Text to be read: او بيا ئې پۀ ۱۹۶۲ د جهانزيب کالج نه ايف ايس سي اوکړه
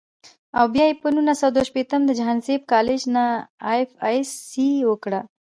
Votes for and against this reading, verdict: 0, 2, rejected